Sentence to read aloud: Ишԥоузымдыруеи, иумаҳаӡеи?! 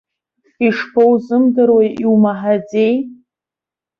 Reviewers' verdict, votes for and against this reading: accepted, 2, 0